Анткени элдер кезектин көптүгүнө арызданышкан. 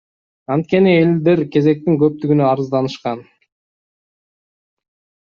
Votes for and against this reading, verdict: 2, 0, accepted